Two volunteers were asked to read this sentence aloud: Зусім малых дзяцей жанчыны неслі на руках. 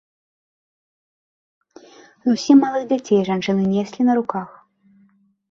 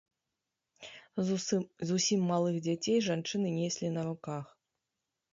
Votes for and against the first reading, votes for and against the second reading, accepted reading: 3, 0, 1, 2, first